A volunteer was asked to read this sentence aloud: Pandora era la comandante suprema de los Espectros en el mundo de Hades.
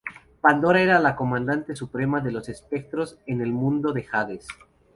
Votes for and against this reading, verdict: 2, 2, rejected